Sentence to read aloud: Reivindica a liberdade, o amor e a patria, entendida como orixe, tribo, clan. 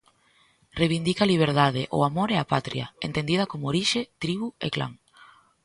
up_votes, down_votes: 1, 2